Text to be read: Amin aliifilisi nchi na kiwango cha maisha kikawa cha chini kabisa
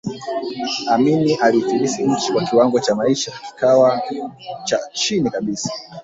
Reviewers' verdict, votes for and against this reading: rejected, 0, 2